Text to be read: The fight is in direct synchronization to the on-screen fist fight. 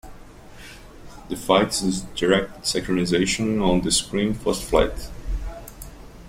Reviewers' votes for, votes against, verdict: 0, 2, rejected